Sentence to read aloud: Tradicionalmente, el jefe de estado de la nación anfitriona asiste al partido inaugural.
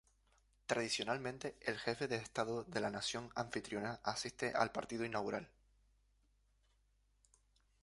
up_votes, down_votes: 0, 2